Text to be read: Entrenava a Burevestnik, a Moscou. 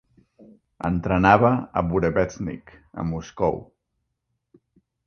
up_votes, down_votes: 2, 0